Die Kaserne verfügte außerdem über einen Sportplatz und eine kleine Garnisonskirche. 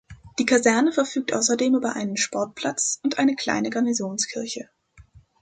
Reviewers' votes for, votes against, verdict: 1, 2, rejected